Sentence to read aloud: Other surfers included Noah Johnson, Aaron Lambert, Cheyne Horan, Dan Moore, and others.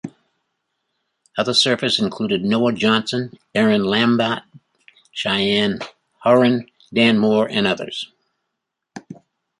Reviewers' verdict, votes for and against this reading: accepted, 2, 0